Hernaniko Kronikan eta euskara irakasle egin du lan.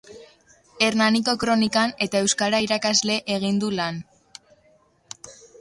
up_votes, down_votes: 0, 2